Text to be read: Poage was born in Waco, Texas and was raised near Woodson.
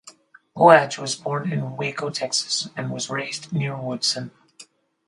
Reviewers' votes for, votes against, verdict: 4, 0, accepted